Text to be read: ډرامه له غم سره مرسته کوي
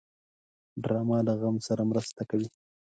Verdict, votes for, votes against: accepted, 4, 0